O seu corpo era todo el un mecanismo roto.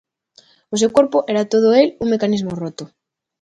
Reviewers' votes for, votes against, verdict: 2, 0, accepted